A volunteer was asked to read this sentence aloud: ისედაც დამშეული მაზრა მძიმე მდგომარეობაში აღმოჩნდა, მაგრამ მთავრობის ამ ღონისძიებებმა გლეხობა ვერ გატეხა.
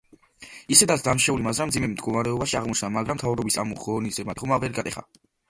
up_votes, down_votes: 1, 2